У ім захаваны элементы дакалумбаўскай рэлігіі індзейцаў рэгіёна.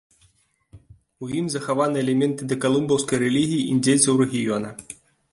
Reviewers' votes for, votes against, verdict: 2, 0, accepted